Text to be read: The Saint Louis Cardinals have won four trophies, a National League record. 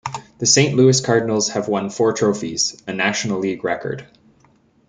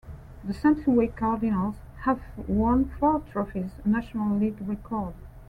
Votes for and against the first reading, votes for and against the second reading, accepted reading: 2, 0, 1, 2, first